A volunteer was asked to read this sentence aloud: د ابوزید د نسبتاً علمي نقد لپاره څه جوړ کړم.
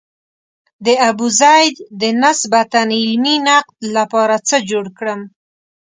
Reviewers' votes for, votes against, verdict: 2, 0, accepted